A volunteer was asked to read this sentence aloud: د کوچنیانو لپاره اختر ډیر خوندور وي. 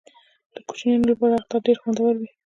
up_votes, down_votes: 2, 0